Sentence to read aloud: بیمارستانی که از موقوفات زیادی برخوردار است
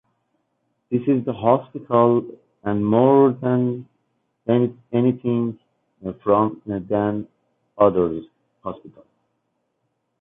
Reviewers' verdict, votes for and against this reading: rejected, 0, 2